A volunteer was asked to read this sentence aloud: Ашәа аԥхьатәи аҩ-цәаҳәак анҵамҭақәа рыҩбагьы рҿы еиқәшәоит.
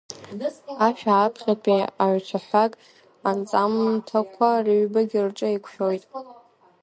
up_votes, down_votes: 1, 2